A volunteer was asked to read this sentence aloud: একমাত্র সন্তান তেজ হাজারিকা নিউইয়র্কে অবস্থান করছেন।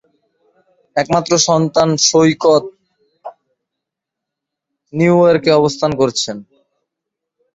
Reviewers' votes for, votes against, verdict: 0, 2, rejected